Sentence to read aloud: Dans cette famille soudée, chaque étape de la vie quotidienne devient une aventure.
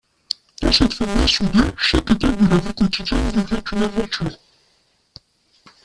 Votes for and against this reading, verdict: 0, 2, rejected